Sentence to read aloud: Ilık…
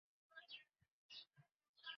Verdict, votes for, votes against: rejected, 0, 2